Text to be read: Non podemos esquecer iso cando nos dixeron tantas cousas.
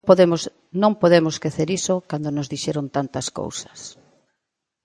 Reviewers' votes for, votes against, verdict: 1, 2, rejected